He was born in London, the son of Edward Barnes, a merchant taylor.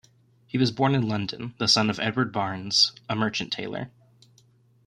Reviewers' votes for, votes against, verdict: 2, 0, accepted